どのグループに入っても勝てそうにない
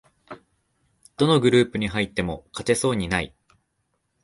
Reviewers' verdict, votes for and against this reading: accepted, 2, 0